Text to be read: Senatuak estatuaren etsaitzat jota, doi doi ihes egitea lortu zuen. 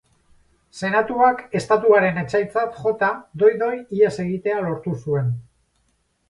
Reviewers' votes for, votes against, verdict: 4, 0, accepted